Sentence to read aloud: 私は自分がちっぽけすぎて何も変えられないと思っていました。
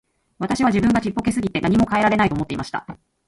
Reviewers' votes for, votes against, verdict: 0, 2, rejected